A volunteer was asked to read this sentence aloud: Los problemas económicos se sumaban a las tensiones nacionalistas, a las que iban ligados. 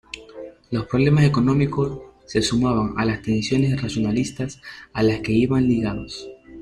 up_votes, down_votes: 2, 1